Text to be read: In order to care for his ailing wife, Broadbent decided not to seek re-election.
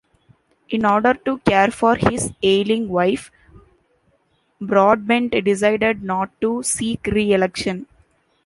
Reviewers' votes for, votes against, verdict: 2, 0, accepted